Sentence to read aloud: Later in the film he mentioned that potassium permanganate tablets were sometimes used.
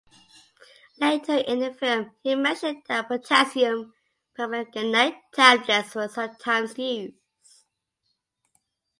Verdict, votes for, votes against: rejected, 0, 2